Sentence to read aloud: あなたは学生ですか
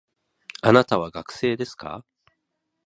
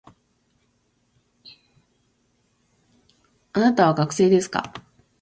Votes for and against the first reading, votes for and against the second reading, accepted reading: 3, 0, 1, 2, first